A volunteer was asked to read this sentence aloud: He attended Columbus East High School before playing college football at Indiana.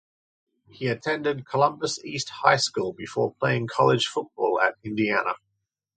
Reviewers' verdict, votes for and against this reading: accepted, 2, 0